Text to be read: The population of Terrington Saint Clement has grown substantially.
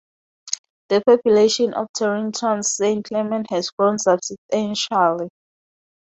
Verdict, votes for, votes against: rejected, 0, 4